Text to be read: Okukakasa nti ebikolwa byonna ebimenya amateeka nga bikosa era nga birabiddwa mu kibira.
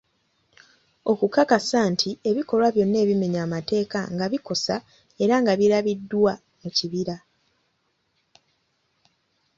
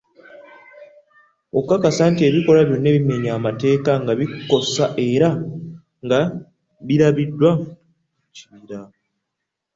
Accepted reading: first